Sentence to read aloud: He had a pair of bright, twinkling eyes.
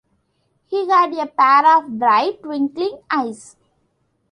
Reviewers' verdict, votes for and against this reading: accepted, 2, 1